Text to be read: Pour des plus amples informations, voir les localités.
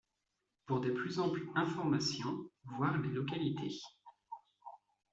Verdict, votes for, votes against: accepted, 2, 0